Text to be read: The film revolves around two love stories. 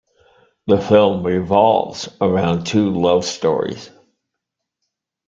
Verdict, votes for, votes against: accepted, 2, 0